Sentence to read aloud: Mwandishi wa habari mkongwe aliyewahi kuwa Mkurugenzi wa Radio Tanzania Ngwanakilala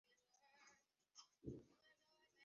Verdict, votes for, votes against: rejected, 0, 2